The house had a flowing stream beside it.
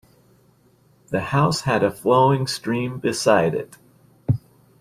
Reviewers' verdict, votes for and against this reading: accepted, 2, 0